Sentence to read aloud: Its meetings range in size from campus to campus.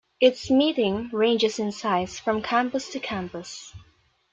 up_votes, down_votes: 0, 2